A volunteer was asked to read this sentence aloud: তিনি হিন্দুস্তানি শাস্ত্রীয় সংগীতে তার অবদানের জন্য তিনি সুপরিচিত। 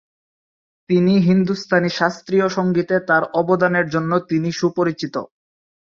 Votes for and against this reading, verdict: 3, 0, accepted